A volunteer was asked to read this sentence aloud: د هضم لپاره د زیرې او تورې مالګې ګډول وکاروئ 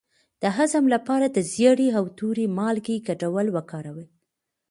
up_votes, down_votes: 2, 0